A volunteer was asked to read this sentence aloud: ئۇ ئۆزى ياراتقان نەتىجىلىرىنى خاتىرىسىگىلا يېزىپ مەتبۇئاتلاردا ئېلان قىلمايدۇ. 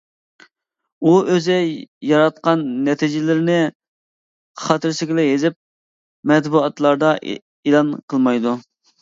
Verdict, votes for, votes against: rejected, 0, 2